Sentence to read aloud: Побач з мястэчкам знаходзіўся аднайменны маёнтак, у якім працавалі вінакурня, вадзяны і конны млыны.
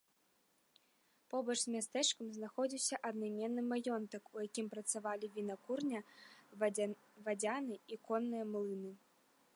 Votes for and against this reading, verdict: 0, 2, rejected